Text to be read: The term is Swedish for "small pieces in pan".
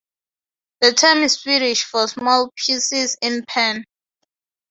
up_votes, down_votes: 2, 0